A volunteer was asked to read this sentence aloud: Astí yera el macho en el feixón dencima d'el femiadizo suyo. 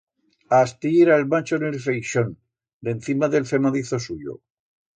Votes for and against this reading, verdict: 1, 2, rejected